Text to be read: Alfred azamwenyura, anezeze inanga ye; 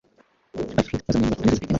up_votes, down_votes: 1, 3